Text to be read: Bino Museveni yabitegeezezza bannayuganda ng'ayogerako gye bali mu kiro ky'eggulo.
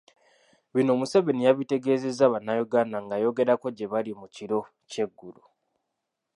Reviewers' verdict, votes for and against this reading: accepted, 2, 0